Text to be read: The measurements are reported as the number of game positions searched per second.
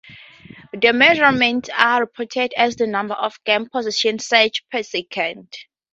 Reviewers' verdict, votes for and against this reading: rejected, 0, 4